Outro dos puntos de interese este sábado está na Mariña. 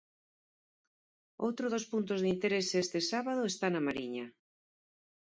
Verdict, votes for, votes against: accepted, 4, 0